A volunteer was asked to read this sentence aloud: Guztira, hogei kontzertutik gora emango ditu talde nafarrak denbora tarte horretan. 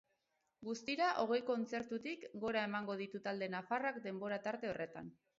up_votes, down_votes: 6, 0